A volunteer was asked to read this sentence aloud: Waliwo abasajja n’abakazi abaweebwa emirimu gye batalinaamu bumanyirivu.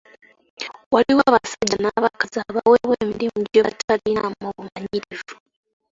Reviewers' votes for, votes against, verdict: 1, 2, rejected